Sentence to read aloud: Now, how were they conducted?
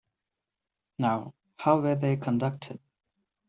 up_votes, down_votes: 2, 0